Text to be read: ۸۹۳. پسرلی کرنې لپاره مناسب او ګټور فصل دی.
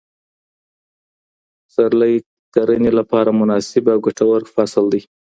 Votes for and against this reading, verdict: 0, 2, rejected